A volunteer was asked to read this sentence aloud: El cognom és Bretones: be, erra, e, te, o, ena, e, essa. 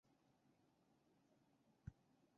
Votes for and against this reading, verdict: 0, 2, rejected